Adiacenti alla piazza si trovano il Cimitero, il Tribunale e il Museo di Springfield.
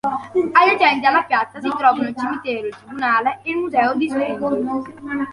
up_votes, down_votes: 1, 2